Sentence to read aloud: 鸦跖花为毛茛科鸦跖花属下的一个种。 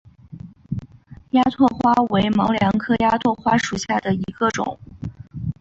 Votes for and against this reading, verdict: 5, 1, accepted